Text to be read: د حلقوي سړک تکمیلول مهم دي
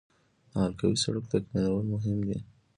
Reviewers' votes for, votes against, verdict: 2, 0, accepted